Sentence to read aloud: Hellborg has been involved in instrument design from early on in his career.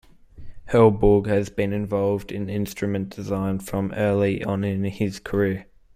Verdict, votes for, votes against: accepted, 2, 1